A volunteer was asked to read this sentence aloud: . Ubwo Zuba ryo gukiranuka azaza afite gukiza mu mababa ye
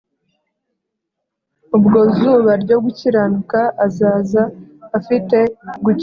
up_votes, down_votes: 0, 2